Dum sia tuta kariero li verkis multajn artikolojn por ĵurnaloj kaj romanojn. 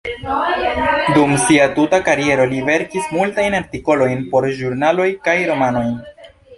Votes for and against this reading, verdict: 0, 2, rejected